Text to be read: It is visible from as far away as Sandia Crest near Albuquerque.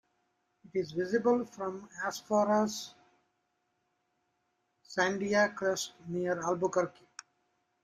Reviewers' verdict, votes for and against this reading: rejected, 0, 2